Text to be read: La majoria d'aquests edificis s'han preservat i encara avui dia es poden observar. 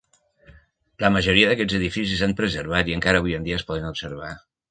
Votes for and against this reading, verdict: 1, 2, rejected